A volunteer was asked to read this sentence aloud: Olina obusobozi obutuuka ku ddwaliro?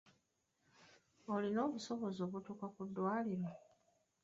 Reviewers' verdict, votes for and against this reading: accepted, 2, 1